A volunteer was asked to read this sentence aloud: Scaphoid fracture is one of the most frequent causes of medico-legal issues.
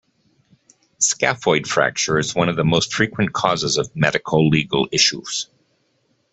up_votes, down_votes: 2, 1